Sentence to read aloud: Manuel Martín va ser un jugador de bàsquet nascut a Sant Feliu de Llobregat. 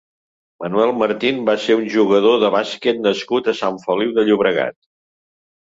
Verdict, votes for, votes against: accepted, 3, 0